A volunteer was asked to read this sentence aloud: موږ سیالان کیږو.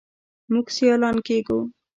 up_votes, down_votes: 2, 0